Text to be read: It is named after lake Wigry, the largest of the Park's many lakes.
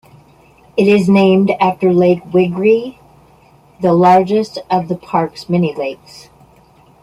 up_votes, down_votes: 0, 2